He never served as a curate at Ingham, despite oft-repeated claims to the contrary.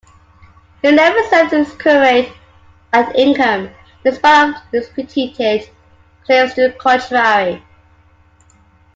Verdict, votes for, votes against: rejected, 0, 2